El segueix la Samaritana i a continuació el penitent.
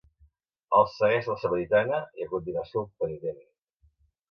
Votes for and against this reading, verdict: 2, 0, accepted